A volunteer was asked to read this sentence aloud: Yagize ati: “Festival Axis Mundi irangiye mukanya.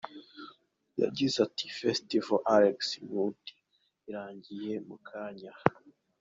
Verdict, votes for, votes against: accepted, 3, 1